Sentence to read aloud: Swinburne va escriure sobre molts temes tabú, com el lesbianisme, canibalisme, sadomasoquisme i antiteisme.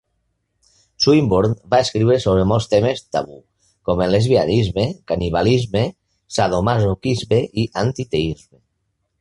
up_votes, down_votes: 1, 2